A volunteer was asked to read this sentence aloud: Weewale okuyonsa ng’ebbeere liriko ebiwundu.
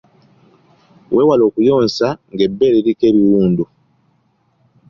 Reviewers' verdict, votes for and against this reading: accepted, 2, 0